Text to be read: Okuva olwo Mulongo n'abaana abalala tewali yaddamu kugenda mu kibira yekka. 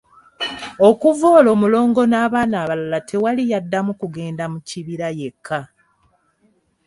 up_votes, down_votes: 3, 0